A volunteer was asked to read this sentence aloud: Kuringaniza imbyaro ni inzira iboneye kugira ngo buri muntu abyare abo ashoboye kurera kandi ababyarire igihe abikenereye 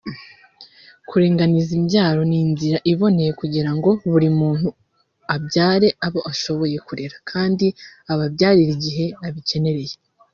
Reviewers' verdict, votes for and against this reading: accepted, 2, 1